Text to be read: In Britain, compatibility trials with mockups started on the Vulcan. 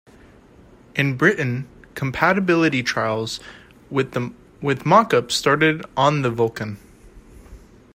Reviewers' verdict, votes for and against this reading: rejected, 0, 2